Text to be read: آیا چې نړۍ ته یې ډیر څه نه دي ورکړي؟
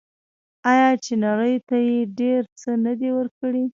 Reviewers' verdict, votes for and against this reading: rejected, 0, 2